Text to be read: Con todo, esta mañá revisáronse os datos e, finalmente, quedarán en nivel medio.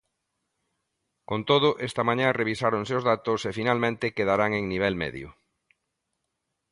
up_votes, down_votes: 2, 0